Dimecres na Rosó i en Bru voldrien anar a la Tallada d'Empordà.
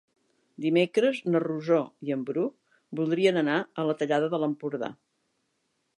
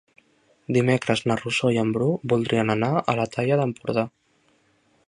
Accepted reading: second